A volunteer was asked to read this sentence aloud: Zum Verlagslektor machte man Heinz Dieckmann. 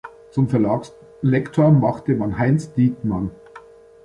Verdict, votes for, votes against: accepted, 2, 0